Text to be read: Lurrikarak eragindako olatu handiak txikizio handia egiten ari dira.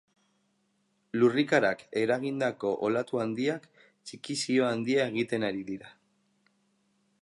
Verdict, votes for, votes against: accepted, 2, 0